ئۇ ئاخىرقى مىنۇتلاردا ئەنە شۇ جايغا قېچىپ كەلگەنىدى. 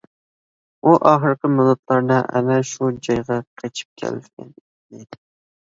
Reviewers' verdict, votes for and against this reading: rejected, 0, 2